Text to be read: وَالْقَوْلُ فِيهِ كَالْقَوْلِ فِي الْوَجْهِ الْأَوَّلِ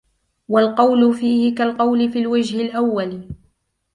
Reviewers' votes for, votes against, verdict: 2, 0, accepted